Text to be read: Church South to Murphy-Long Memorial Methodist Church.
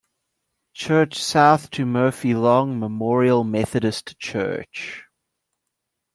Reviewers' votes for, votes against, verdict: 2, 0, accepted